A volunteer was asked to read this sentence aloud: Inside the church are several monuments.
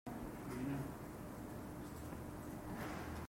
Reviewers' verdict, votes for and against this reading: rejected, 0, 2